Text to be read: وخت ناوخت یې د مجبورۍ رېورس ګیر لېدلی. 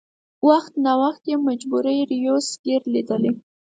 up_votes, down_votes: 4, 0